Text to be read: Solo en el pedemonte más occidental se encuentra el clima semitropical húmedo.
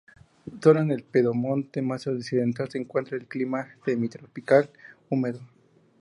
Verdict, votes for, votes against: accepted, 4, 0